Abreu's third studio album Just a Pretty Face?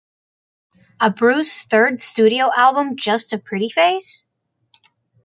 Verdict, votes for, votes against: accepted, 2, 1